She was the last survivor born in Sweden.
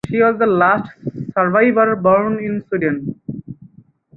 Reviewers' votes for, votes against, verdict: 4, 0, accepted